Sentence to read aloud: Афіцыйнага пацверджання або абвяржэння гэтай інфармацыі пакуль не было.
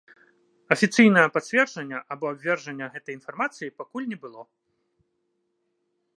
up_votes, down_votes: 2, 1